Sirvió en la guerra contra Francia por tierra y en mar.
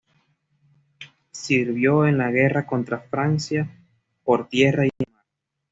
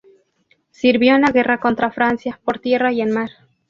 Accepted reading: second